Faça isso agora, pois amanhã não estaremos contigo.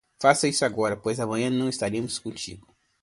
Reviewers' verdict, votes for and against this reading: accepted, 2, 0